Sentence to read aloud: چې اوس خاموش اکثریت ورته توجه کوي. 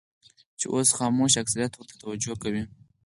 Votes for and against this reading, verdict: 2, 4, rejected